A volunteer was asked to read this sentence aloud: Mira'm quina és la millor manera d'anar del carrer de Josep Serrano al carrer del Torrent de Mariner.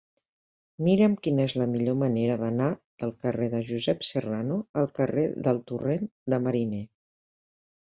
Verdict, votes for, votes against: accepted, 2, 1